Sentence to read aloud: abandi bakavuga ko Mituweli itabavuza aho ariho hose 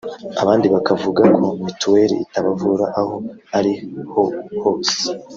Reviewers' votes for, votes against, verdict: 2, 3, rejected